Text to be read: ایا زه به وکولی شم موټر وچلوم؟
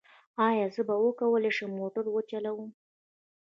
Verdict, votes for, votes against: accepted, 2, 0